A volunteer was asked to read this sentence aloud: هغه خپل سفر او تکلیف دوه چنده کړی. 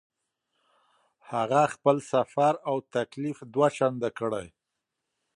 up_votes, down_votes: 2, 0